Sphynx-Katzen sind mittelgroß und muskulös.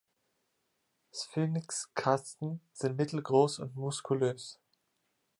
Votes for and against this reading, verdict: 2, 0, accepted